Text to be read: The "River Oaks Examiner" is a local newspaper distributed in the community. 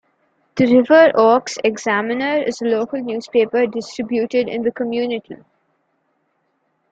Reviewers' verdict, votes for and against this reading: accepted, 2, 0